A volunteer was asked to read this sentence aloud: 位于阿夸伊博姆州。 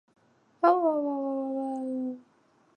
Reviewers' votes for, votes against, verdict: 3, 2, accepted